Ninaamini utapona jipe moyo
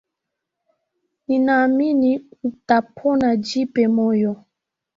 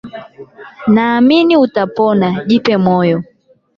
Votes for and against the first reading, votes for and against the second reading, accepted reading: 2, 3, 12, 0, second